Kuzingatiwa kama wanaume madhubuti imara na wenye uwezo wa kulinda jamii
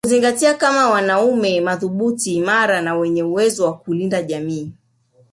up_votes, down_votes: 0, 2